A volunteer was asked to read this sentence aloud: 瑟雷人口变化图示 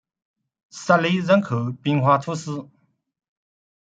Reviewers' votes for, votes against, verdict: 1, 2, rejected